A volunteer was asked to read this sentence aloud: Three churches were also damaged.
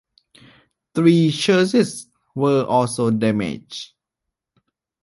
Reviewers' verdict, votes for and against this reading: rejected, 0, 2